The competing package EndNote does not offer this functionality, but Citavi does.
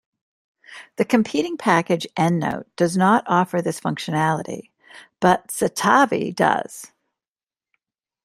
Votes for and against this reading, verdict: 2, 0, accepted